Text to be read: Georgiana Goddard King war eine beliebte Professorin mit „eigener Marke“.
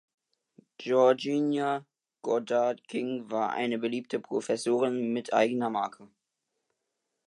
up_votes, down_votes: 0, 2